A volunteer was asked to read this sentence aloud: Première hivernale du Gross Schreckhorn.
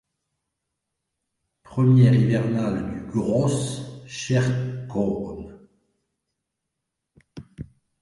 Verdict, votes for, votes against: rejected, 0, 2